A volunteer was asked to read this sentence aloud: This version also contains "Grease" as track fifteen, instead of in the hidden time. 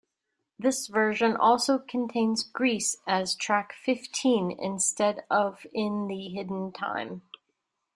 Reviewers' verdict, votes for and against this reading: accepted, 2, 0